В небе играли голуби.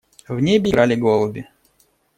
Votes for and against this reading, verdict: 1, 2, rejected